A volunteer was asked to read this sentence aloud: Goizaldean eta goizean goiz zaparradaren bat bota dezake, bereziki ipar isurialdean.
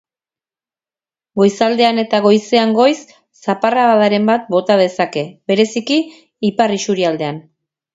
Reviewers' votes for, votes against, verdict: 4, 0, accepted